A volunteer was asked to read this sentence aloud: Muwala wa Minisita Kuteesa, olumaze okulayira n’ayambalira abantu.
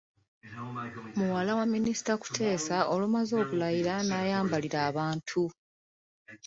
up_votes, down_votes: 2, 0